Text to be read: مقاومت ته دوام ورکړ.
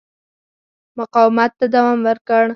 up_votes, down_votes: 4, 0